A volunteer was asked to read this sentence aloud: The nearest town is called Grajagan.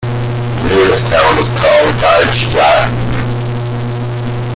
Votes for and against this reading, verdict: 0, 3, rejected